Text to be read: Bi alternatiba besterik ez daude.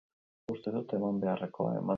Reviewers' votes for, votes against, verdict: 0, 4, rejected